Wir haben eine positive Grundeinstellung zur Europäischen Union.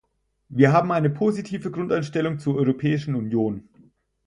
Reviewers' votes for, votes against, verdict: 4, 0, accepted